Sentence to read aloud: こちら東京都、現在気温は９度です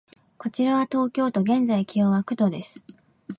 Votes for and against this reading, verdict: 0, 2, rejected